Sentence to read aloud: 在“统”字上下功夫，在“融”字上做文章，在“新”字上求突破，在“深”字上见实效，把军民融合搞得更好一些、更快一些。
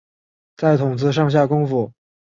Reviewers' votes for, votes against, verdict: 1, 2, rejected